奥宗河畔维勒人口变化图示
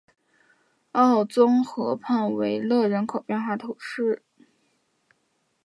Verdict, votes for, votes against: accepted, 3, 1